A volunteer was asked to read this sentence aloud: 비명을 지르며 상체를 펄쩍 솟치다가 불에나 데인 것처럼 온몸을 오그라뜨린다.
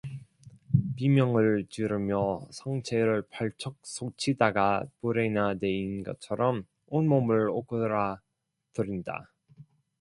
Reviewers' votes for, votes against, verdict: 0, 2, rejected